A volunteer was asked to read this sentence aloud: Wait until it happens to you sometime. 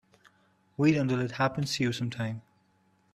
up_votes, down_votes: 2, 1